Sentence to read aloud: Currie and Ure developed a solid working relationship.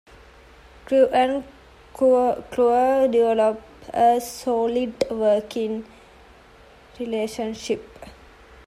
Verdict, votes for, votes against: rejected, 0, 2